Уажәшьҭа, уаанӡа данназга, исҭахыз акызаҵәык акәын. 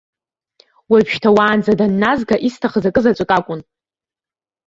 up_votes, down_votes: 2, 0